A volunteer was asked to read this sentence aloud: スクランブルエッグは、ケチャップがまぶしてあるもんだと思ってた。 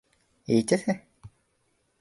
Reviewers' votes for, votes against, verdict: 0, 2, rejected